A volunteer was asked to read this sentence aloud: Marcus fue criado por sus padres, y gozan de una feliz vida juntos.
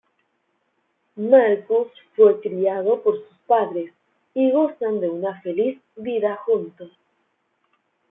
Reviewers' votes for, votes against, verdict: 2, 1, accepted